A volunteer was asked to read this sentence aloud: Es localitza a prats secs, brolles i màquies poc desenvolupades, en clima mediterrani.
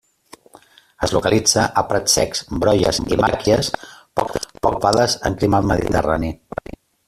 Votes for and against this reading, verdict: 0, 2, rejected